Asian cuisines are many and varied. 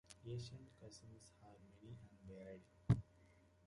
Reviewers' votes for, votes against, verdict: 0, 2, rejected